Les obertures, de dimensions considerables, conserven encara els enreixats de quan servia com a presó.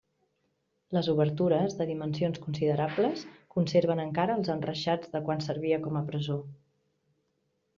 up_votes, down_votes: 2, 0